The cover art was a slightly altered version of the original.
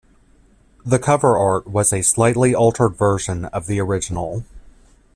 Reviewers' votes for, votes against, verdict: 1, 2, rejected